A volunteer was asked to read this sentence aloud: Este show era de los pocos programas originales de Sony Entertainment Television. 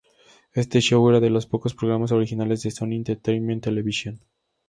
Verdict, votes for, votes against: accepted, 2, 0